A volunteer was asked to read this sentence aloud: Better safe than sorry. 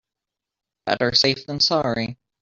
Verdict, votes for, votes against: accepted, 2, 0